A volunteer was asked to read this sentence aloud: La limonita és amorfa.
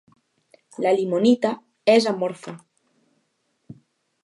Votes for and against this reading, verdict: 2, 0, accepted